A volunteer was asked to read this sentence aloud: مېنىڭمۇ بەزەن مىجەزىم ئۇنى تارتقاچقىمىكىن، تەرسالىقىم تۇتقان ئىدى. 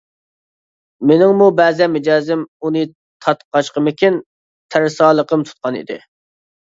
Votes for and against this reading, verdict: 2, 0, accepted